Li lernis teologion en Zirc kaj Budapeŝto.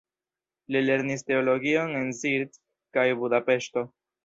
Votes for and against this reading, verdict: 0, 2, rejected